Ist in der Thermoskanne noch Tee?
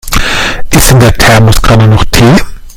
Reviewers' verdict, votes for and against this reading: rejected, 0, 2